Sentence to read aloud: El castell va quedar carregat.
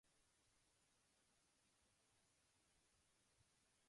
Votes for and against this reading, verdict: 1, 2, rejected